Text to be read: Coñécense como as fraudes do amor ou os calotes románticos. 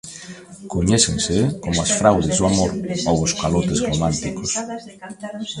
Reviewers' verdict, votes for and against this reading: accepted, 2, 1